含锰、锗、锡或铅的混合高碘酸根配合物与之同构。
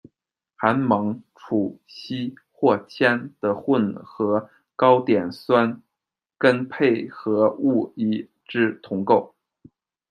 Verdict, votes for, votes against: rejected, 0, 2